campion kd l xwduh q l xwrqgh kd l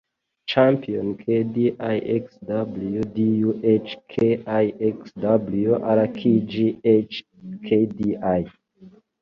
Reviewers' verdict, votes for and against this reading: rejected, 0, 2